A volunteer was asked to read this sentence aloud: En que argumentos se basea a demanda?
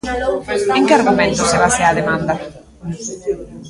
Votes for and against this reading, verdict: 0, 2, rejected